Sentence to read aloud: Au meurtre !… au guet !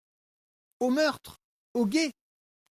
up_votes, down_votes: 2, 0